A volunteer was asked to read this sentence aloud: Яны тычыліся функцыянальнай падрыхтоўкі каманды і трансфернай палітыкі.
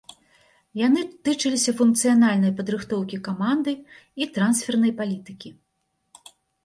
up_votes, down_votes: 2, 0